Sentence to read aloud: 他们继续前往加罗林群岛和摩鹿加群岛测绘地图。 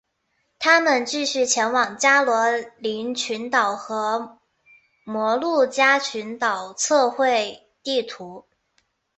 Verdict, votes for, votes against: accepted, 2, 0